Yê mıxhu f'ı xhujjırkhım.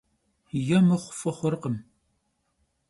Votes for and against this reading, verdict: 0, 2, rejected